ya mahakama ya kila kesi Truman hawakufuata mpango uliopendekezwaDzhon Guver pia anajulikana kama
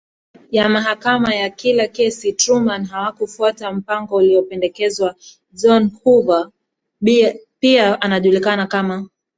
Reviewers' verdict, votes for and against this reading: accepted, 2, 0